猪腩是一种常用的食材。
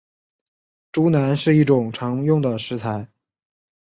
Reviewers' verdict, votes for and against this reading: accepted, 3, 0